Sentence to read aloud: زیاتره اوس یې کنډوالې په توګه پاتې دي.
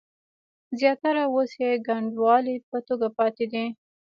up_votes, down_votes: 1, 2